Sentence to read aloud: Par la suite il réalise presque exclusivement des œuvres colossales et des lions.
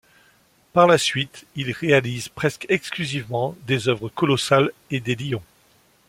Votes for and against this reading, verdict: 2, 0, accepted